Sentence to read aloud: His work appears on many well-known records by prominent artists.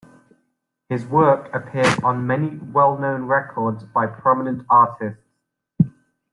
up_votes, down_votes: 2, 0